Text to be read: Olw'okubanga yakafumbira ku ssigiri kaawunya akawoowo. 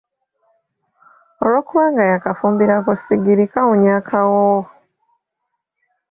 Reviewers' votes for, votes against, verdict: 0, 2, rejected